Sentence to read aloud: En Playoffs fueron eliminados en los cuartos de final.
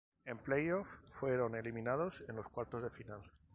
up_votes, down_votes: 2, 0